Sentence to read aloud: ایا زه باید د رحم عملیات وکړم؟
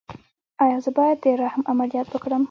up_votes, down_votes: 0, 2